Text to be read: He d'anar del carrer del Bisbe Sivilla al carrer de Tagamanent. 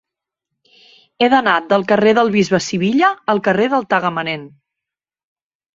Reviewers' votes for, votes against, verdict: 0, 2, rejected